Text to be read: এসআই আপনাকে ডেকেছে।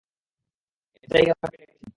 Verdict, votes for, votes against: rejected, 0, 2